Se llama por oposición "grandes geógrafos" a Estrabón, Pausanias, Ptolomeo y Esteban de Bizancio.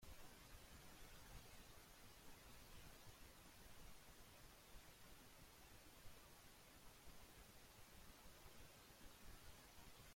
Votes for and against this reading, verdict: 0, 2, rejected